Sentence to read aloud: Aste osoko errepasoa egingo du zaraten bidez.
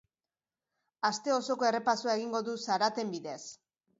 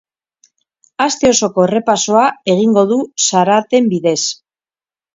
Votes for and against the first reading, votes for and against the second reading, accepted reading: 3, 0, 0, 2, first